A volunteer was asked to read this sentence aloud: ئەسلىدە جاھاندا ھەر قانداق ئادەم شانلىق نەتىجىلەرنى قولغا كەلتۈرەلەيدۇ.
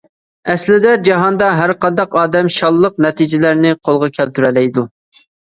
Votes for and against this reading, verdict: 2, 0, accepted